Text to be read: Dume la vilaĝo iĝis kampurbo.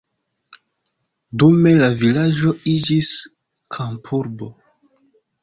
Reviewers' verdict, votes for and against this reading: accepted, 2, 0